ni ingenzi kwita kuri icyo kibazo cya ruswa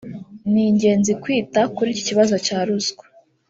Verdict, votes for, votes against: rejected, 0, 2